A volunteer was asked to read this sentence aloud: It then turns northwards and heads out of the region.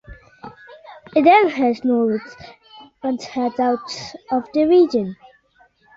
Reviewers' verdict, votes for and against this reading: rejected, 1, 2